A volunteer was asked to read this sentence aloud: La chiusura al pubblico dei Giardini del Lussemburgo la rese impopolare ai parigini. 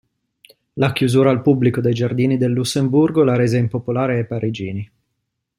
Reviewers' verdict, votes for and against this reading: accepted, 2, 0